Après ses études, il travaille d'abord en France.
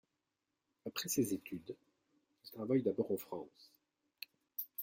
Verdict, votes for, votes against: accepted, 2, 1